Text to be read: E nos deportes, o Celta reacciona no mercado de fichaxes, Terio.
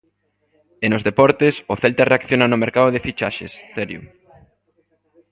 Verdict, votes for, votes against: rejected, 1, 2